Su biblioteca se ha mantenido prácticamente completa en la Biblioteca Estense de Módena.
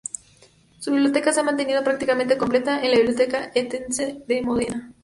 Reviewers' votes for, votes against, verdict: 2, 2, rejected